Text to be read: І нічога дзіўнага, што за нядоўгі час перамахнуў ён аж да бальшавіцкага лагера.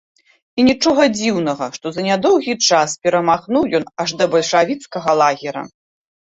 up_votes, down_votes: 2, 0